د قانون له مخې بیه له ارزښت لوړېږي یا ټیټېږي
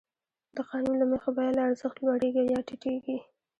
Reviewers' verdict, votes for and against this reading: rejected, 0, 2